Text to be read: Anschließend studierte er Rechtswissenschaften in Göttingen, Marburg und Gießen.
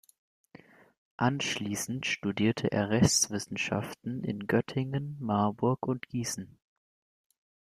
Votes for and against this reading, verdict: 2, 1, accepted